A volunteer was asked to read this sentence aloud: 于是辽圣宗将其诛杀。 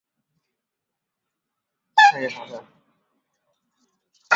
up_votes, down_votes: 0, 2